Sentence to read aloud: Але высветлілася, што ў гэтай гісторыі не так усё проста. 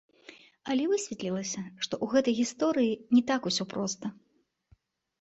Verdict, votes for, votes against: rejected, 0, 2